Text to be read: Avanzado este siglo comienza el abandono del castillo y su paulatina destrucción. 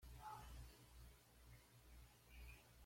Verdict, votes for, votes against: rejected, 1, 2